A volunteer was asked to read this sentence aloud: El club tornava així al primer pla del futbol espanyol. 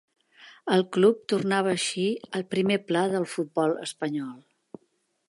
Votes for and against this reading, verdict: 3, 0, accepted